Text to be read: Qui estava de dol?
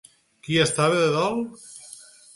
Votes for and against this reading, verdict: 4, 0, accepted